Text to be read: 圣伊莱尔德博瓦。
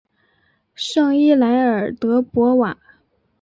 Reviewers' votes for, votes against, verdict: 3, 0, accepted